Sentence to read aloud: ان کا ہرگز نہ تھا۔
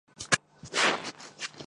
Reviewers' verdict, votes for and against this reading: rejected, 0, 2